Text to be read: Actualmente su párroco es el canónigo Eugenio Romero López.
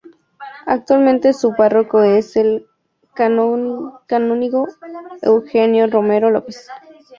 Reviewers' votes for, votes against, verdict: 0, 2, rejected